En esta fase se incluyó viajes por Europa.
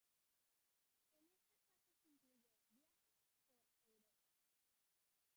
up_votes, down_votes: 0, 2